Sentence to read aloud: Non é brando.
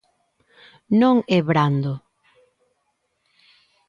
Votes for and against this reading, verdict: 2, 0, accepted